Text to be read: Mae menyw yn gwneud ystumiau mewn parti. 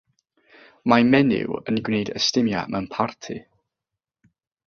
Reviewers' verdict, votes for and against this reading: rejected, 0, 3